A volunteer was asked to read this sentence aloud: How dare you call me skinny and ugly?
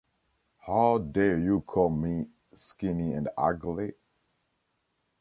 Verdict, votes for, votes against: accepted, 2, 0